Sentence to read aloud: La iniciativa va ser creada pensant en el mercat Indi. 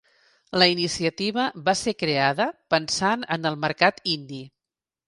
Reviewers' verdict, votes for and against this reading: accepted, 3, 0